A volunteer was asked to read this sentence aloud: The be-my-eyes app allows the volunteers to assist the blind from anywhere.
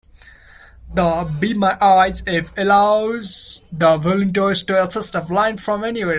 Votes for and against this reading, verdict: 1, 2, rejected